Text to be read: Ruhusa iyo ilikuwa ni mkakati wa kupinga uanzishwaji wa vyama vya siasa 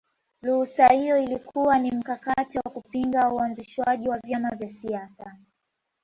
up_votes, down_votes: 3, 2